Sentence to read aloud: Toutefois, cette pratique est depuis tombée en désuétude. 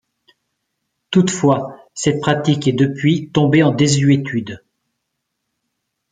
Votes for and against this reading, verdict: 2, 0, accepted